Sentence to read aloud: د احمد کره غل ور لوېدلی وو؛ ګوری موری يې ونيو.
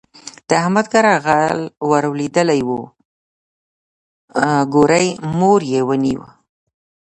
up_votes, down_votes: 1, 2